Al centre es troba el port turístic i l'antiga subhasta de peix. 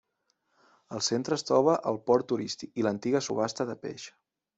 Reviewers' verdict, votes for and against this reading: accepted, 2, 0